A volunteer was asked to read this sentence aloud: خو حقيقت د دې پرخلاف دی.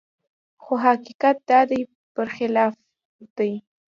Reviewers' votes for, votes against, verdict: 1, 2, rejected